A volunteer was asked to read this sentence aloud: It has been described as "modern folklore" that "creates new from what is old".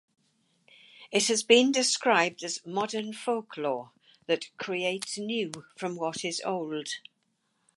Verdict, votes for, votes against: accepted, 4, 0